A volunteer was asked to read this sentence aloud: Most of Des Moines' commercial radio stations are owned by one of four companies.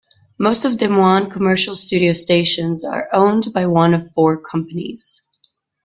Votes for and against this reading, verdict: 2, 1, accepted